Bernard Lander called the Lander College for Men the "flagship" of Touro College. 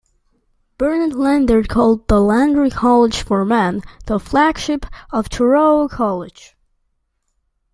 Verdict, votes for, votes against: accepted, 2, 0